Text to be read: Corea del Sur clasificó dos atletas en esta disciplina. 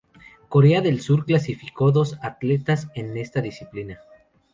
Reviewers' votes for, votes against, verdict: 2, 0, accepted